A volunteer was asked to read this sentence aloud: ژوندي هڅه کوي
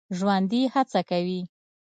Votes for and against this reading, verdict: 2, 0, accepted